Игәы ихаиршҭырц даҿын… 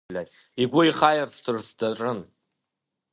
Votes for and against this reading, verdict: 1, 2, rejected